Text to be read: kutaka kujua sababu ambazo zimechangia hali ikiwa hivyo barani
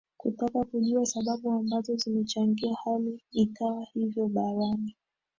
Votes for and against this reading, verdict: 1, 2, rejected